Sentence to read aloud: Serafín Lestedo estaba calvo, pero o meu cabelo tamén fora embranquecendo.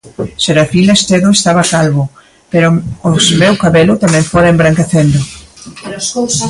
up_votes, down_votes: 0, 2